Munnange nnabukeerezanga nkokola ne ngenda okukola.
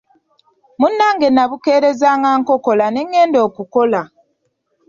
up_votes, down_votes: 2, 0